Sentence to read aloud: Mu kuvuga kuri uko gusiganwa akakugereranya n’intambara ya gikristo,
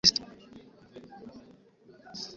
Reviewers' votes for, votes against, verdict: 0, 2, rejected